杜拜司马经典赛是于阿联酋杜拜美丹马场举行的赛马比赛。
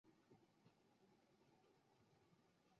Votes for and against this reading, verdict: 0, 2, rejected